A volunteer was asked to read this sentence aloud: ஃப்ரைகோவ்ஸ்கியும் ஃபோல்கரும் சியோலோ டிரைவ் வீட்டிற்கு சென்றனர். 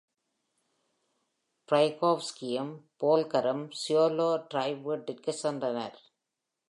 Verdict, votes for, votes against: accepted, 2, 0